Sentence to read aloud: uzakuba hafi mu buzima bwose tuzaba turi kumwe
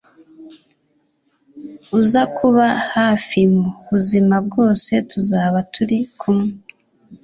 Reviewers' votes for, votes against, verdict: 2, 0, accepted